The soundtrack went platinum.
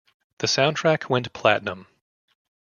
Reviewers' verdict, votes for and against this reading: rejected, 1, 2